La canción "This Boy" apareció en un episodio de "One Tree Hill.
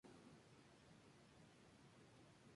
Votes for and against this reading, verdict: 0, 2, rejected